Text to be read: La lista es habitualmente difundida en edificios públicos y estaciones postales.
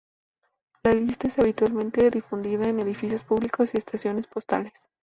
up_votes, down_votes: 4, 0